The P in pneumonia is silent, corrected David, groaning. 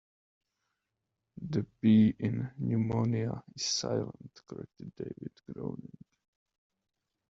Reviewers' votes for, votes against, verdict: 2, 1, accepted